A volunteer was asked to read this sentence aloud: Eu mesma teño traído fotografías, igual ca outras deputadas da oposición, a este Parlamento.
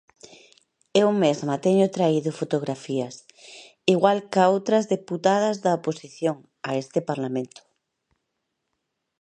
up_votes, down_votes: 2, 0